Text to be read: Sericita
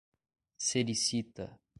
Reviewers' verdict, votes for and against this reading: accepted, 2, 0